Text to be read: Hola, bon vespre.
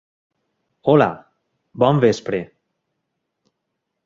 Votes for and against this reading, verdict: 3, 0, accepted